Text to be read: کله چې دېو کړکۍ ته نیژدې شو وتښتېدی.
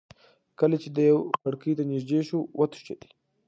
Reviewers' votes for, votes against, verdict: 1, 2, rejected